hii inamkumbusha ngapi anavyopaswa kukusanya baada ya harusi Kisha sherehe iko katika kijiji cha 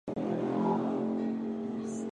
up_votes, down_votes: 0, 2